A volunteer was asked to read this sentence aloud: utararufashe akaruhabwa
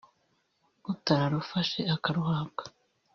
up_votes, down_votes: 0, 2